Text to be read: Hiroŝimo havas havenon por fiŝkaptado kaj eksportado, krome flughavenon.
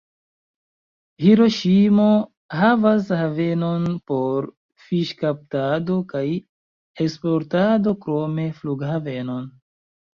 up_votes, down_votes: 0, 2